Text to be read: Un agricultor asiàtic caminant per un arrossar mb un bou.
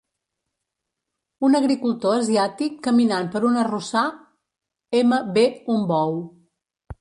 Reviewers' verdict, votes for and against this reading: rejected, 1, 2